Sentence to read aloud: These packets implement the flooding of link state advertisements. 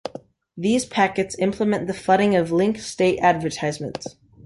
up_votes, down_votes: 2, 0